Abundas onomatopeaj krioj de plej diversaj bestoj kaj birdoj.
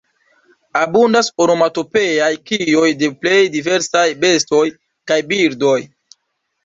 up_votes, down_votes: 1, 2